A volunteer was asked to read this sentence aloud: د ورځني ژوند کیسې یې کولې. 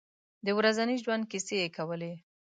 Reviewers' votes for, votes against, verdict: 2, 0, accepted